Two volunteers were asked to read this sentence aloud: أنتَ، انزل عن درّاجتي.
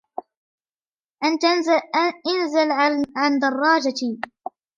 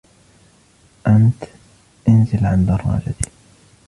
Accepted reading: first